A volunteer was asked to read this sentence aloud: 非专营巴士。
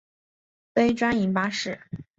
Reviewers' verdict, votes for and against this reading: accepted, 8, 0